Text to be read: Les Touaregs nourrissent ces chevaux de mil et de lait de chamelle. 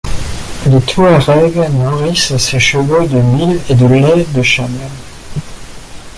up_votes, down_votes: 0, 2